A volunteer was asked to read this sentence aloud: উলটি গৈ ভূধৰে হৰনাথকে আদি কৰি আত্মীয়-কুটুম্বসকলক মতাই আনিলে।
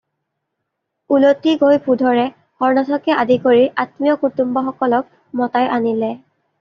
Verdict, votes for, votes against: accepted, 2, 0